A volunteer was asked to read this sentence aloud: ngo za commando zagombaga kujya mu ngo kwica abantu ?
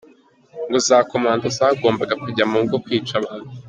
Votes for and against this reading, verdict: 2, 0, accepted